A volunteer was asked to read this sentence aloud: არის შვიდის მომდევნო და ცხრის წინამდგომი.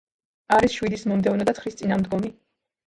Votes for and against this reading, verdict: 1, 2, rejected